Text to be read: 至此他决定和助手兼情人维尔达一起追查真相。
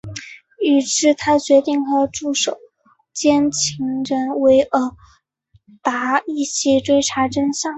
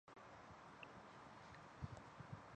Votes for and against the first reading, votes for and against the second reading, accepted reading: 2, 1, 0, 4, first